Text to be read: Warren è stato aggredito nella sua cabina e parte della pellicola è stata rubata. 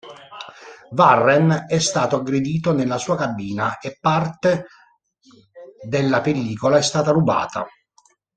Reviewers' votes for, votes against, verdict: 0, 2, rejected